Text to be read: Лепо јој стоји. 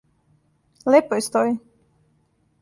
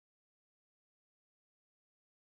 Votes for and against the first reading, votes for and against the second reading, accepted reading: 2, 0, 0, 2, first